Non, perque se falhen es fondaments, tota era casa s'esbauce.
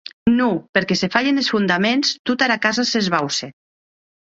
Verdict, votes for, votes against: accepted, 8, 1